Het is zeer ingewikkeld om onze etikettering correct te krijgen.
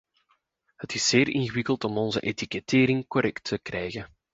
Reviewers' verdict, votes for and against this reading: accepted, 2, 0